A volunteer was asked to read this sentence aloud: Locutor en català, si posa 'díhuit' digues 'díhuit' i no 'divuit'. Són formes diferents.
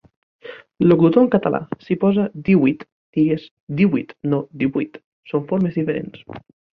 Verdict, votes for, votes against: accepted, 2, 0